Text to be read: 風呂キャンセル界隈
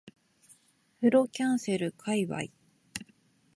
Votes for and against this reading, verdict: 1, 3, rejected